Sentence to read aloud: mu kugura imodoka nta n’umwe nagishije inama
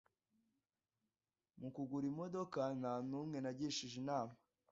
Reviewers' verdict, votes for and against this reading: accepted, 2, 0